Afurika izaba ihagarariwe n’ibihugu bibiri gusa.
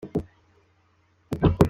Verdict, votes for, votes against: rejected, 0, 2